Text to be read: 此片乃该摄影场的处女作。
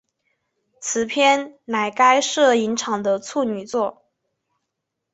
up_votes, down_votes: 4, 0